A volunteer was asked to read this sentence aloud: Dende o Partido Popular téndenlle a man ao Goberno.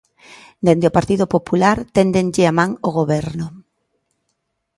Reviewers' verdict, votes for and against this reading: accepted, 2, 0